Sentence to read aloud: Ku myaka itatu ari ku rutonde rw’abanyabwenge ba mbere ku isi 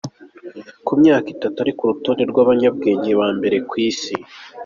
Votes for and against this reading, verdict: 2, 0, accepted